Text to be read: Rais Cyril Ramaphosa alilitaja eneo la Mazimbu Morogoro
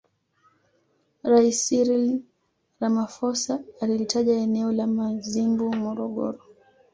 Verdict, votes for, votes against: accepted, 2, 1